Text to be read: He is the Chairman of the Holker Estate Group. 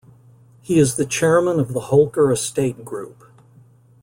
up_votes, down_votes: 2, 0